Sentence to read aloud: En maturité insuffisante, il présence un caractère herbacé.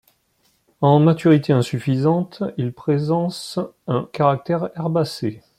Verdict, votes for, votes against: rejected, 1, 2